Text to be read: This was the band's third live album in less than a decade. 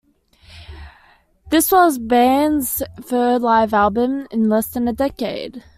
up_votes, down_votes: 0, 2